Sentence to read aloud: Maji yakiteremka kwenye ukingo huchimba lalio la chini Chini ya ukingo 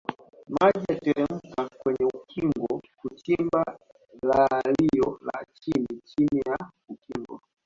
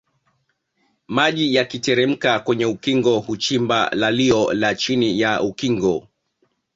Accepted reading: second